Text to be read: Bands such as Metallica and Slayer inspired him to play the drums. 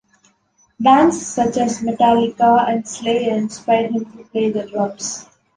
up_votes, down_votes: 2, 0